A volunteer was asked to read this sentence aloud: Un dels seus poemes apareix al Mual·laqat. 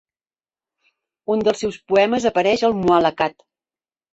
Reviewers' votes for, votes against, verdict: 1, 2, rejected